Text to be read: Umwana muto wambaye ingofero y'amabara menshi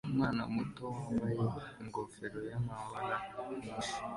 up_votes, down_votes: 2, 0